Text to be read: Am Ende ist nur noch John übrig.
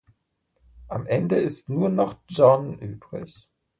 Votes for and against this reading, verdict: 2, 0, accepted